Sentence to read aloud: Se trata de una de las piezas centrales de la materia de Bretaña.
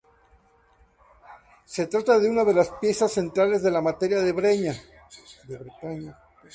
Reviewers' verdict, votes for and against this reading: rejected, 0, 2